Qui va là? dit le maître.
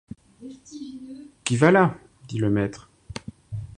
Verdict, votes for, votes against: rejected, 0, 2